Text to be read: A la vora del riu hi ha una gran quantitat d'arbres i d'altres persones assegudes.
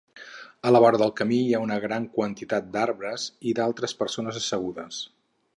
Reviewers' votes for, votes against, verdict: 2, 4, rejected